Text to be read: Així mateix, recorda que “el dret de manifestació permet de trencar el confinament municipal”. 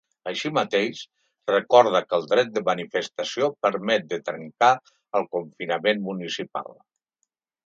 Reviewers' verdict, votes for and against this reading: accepted, 4, 0